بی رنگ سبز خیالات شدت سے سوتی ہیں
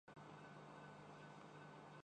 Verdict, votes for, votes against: rejected, 0, 4